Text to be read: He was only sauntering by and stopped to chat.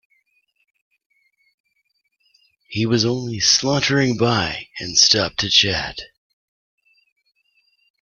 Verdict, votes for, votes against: rejected, 0, 2